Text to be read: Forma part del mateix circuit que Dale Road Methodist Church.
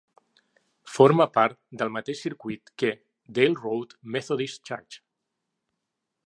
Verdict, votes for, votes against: accepted, 3, 0